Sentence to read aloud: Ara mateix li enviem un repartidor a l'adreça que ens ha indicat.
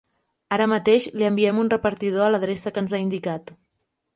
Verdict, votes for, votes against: accepted, 3, 0